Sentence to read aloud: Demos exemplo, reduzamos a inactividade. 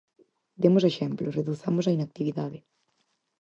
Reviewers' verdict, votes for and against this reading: accepted, 4, 0